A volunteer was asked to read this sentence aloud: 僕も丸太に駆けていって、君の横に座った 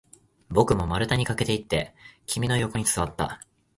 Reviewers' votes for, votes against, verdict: 3, 0, accepted